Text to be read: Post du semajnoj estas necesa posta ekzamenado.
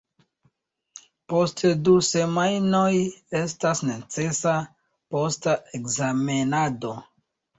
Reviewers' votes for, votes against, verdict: 0, 2, rejected